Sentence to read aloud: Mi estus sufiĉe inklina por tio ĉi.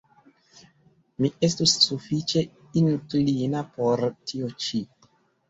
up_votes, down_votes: 2, 1